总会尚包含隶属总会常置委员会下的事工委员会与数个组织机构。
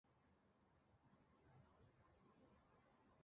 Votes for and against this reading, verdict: 0, 2, rejected